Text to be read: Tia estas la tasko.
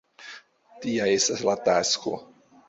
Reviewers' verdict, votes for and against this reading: accepted, 2, 1